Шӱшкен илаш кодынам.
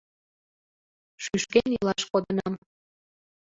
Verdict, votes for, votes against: accepted, 2, 0